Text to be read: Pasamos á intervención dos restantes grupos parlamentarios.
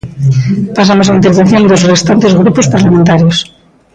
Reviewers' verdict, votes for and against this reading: rejected, 0, 2